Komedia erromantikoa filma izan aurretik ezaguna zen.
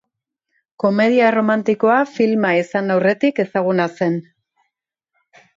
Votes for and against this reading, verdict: 2, 0, accepted